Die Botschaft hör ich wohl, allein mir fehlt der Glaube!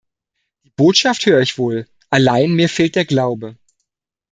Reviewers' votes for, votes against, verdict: 0, 2, rejected